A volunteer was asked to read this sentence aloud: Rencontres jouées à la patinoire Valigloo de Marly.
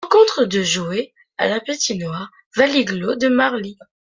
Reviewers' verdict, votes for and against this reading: accepted, 2, 0